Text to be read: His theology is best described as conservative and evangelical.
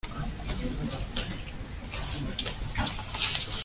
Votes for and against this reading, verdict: 0, 2, rejected